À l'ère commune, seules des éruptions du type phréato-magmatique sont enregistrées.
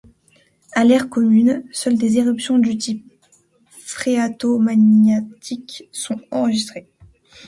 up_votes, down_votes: 0, 2